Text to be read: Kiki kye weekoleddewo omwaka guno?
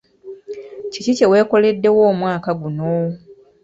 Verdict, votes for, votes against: accepted, 2, 0